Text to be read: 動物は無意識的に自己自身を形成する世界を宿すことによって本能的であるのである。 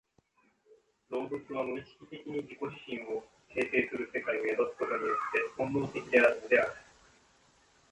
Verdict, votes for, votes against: rejected, 1, 2